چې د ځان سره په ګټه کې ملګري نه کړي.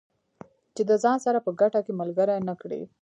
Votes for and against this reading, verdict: 1, 2, rejected